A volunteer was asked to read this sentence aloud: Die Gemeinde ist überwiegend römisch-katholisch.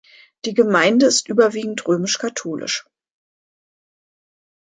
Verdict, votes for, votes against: accepted, 2, 0